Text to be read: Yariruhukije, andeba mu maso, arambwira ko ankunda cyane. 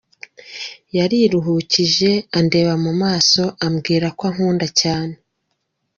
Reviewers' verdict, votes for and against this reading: accepted, 2, 0